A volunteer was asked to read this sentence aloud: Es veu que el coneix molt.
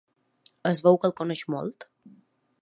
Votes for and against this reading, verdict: 3, 0, accepted